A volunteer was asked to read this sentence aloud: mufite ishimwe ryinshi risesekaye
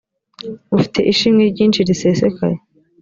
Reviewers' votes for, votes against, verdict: 3, 1, accepted